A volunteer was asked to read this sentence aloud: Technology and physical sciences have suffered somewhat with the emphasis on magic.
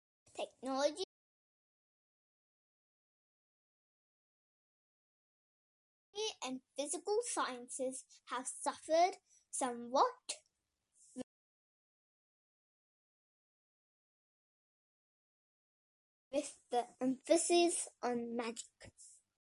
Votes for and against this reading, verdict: 0, 2, rejected